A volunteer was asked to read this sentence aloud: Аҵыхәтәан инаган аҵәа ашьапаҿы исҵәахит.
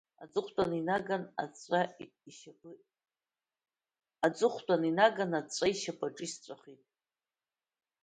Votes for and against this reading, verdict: 2, 0, accepted